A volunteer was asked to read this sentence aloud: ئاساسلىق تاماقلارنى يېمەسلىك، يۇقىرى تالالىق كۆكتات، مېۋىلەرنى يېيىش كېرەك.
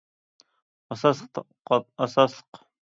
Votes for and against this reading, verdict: 0, 2, rejected